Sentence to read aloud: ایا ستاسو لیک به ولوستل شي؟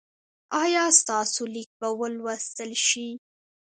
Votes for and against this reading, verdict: 2, 0, accepted